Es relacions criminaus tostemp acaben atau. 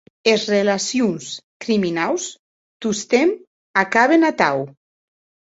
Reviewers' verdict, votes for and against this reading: accepted, 2, 0